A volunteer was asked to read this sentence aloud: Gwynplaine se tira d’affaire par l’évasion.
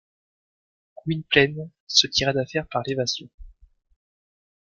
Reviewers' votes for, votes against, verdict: 1, 2, rejected